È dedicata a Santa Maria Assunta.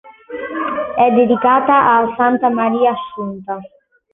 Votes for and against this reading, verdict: 2, 0, accepted